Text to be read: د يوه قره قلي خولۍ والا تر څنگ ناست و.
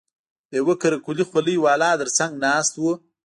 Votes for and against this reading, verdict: 2, 0, accepted